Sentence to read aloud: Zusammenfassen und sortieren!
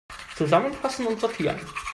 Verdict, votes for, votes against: accepted, 2, 1